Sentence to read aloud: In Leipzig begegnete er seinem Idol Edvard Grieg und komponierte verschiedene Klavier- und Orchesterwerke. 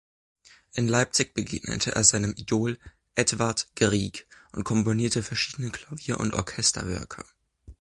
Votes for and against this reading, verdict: 2, 0, accepted